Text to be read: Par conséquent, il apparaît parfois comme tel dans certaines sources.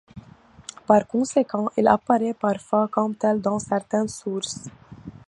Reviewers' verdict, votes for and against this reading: accepted, 2, 1